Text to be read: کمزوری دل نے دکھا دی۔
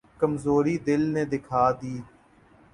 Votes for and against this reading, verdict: 3, 0, accepted